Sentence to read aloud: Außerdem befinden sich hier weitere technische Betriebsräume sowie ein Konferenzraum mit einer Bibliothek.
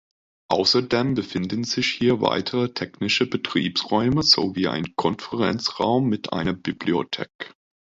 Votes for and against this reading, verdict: 2, 1, accepted